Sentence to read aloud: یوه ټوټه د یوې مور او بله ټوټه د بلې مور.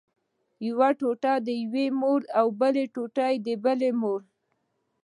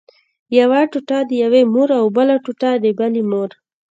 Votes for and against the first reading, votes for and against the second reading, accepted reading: 1, 2, 2, 0, second